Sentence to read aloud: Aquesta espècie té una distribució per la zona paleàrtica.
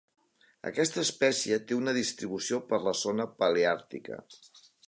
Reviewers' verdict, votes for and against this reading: accepted, 3, 0